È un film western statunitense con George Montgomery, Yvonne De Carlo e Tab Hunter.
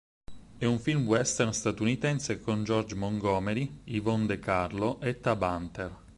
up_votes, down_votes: 4, 0